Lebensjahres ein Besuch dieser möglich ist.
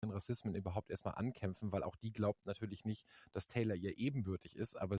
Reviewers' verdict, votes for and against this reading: rejected, 0, 2